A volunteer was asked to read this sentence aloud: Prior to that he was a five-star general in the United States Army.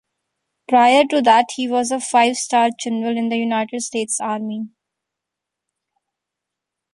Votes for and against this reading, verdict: 2, 1, accepted